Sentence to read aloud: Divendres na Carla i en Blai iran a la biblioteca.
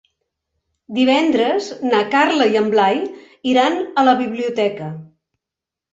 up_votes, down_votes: 3, 0